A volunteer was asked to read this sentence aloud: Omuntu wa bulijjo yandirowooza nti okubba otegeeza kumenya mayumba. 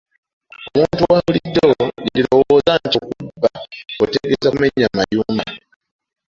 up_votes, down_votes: 2, 0